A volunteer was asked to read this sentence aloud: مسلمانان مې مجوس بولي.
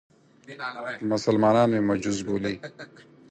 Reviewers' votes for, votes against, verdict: 2, 4, rejected